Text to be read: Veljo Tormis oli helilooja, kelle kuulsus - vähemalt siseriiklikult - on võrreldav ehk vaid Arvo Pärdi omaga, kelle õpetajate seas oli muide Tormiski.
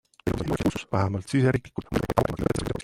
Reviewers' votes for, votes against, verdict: 0, 2, rejected